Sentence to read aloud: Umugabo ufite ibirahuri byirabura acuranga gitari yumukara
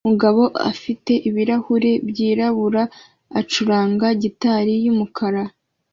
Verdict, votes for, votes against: accepted, 2, 1